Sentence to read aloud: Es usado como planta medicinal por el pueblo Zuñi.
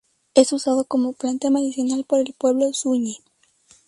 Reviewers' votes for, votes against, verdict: 0, 2, rejected